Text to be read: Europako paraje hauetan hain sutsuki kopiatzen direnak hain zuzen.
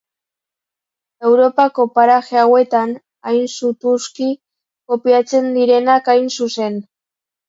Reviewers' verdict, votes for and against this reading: rejected, 0, 2